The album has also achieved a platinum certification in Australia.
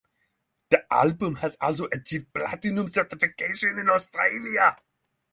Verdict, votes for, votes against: rejected, 0, 6